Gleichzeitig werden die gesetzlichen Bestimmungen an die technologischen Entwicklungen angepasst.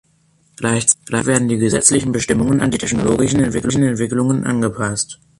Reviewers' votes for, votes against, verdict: 0, 2, rejected